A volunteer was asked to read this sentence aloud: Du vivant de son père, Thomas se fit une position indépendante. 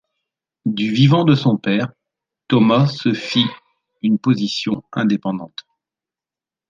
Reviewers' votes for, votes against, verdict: 2, 0, accepted